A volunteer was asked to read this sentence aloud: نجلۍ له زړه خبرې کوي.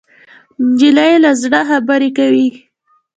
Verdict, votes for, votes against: rejected, 0, 2